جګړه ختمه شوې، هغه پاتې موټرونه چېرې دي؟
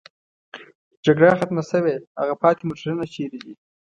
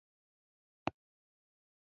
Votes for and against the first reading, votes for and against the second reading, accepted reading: 2, 0, 0, 3, first